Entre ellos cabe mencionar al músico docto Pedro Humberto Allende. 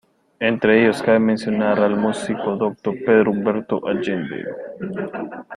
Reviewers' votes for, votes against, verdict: 2, 1, accepted